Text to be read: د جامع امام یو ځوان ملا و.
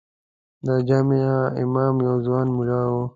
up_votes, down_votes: 2, 1